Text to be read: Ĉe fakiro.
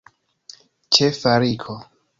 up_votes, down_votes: 1, 2